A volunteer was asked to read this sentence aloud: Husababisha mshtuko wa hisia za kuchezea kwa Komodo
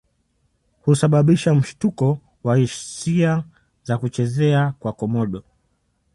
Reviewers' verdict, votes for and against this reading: accepted, 2, 0